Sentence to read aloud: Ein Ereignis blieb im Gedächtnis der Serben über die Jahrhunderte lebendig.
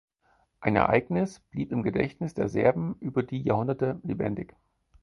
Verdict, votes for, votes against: accepted, 4, 0